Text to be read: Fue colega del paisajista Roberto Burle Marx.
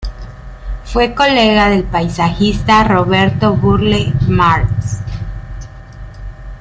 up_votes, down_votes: 2, 0